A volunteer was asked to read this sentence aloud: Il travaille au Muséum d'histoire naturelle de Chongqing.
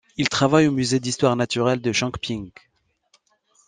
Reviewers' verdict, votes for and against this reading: rejected, 0, 2